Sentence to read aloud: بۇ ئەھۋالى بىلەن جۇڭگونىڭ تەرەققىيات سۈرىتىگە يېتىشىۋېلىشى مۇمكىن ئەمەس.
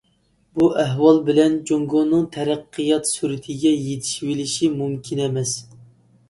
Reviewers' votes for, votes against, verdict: 2, 0, accepted